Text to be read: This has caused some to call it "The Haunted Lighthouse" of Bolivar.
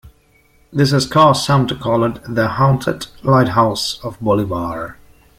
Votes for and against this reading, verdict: 3, 1, accepted